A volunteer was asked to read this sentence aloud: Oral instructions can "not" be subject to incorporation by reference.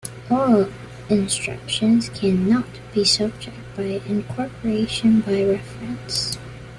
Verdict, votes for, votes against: rejected, 0, 2